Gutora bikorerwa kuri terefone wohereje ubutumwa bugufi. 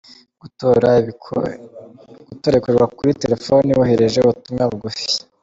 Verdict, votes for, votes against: rejected, 0, 2